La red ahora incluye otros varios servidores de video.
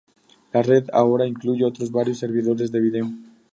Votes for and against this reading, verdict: 2, 0, accepted